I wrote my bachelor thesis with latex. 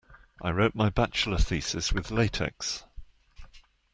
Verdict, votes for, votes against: accepted, 2, 0